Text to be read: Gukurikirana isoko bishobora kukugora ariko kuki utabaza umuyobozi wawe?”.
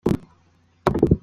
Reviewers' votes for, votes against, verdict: 0, 2, rejected